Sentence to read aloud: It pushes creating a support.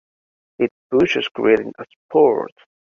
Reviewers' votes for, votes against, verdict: 1, 2, rejected